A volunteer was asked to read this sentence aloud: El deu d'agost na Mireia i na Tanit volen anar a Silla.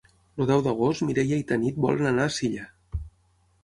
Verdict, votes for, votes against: rejected, 3, 6